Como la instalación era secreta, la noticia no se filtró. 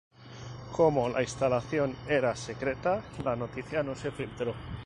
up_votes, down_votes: 0, 2